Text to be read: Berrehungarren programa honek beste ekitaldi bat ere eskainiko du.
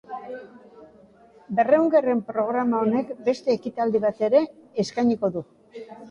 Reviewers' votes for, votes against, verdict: 2, 0, accepted